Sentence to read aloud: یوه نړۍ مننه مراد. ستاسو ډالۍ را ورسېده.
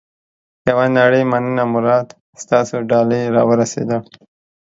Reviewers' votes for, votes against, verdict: 2, 0, accepted